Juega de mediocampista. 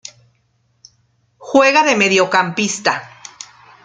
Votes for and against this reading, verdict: 2, 0, accepted